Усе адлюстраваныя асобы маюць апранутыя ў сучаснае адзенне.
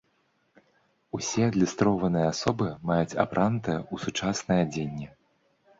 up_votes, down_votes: 0, 2